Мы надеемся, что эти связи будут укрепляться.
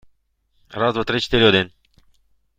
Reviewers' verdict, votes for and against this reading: rejected, 0, 2